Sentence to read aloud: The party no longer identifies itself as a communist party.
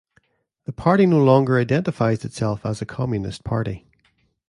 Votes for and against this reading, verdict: 2, 0, accepted